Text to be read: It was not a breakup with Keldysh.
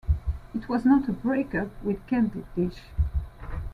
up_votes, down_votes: 1, 2